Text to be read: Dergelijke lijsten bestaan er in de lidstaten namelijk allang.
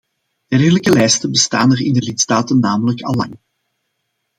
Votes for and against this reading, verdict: 2, 0, accepted